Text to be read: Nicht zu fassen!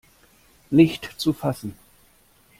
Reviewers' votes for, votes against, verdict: 2, 0, accepted